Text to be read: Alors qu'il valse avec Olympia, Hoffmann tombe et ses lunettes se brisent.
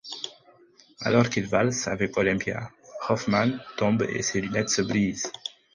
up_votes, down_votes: 4, 0